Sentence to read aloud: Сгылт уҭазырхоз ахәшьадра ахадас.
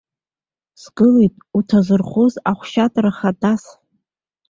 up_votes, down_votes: 1, 2